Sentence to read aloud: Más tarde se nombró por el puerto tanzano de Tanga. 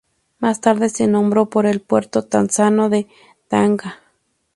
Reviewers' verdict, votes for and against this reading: accepted, 2, 0